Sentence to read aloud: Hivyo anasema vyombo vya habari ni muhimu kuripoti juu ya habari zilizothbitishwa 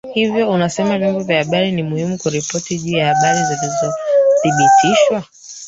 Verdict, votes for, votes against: rejected, 0, 3